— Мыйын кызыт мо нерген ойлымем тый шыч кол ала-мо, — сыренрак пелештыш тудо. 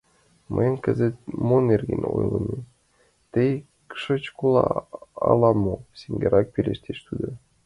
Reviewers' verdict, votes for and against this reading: rejected, 0, 2